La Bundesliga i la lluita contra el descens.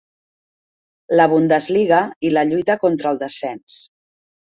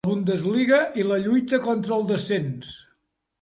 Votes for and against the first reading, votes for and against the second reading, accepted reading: 3, 1, 0, 2, first